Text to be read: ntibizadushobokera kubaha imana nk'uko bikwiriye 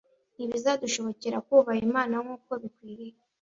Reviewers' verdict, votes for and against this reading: accepted, 2, 0